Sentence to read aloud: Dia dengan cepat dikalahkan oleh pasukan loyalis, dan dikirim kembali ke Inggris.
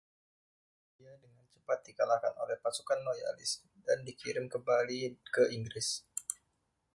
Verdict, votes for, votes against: rejected, 1, 2